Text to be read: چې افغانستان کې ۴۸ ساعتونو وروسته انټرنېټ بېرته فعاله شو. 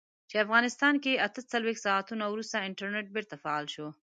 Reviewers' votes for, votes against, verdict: 0, 2, rejected